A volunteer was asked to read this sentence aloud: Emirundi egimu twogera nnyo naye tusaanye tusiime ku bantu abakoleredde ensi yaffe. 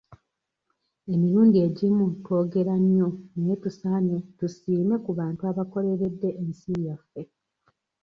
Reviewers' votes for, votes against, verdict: 1, 2, rejected